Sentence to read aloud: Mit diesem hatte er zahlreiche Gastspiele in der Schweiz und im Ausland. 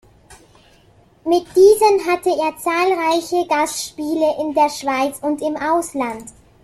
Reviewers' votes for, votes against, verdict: 2, 1, accepted